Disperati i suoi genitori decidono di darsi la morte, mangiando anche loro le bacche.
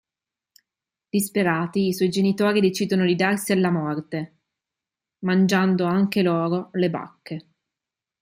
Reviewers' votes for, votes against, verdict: 1, 2, rejected